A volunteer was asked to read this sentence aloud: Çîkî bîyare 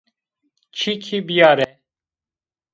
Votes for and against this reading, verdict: 1, 2, rejected